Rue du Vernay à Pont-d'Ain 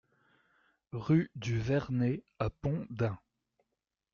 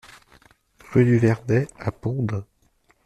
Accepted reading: first